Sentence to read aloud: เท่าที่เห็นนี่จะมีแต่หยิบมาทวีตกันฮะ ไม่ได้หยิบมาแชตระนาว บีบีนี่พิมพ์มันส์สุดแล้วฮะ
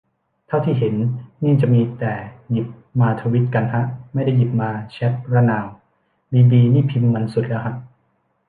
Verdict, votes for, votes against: rejected, 1, 2